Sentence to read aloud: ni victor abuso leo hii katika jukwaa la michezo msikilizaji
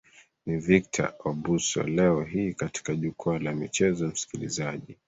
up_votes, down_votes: 1, 2